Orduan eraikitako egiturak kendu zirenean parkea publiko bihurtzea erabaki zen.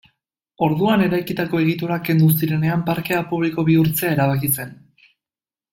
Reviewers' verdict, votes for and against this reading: accepted, 2, 0